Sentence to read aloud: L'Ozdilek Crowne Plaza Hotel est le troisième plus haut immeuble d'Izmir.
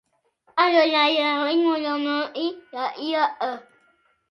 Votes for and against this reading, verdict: 0, 2, rejected